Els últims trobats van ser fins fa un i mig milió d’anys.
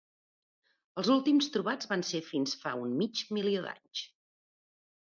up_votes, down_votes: 1, 2